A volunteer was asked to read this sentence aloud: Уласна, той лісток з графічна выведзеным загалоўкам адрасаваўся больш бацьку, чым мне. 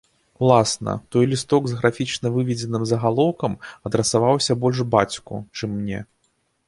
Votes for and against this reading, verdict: 2, 0, accepted